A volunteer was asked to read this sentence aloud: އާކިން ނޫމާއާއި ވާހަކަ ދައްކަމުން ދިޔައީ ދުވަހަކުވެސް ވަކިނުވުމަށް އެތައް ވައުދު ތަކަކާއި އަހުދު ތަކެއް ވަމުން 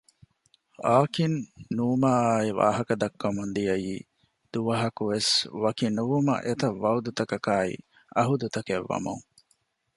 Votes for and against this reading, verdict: 2, 0, accepted